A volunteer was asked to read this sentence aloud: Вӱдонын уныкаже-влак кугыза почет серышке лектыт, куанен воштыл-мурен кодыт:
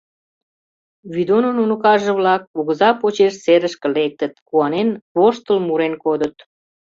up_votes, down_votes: 0, 2